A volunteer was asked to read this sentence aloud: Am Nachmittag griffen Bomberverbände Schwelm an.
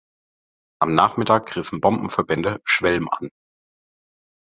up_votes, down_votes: 0, 3